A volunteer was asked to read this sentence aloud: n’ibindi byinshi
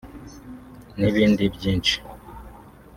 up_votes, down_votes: 3, 0